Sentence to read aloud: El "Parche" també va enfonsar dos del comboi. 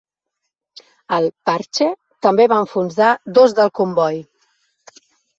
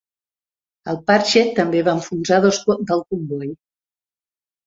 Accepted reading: first